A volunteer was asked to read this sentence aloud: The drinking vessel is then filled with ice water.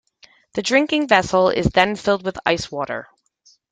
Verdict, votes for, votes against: accepted, 2, 0